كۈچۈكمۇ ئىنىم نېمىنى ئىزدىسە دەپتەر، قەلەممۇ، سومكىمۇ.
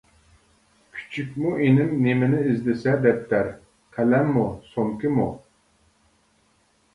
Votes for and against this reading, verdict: 2, 0, accepted